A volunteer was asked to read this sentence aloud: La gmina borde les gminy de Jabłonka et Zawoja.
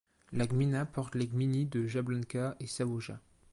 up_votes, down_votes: 1, 2